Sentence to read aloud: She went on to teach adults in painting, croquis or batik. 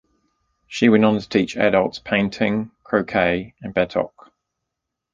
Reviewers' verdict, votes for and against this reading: rejected, 1, 2